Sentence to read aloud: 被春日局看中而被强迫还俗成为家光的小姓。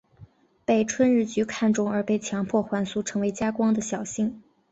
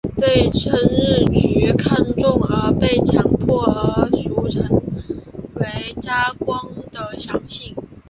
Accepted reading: first